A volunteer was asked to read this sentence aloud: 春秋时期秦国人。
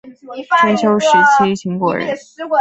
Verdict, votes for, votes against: rejected, 0, 2